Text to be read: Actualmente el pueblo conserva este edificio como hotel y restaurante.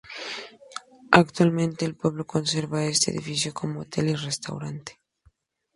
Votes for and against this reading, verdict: 2, 0, accepted